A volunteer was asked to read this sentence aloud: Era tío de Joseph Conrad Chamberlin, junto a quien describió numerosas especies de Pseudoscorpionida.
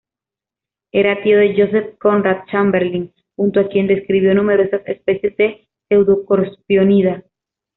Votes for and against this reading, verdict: 2, 0, accepted